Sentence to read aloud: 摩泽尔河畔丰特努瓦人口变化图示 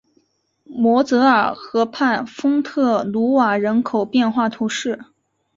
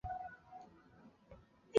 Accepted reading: first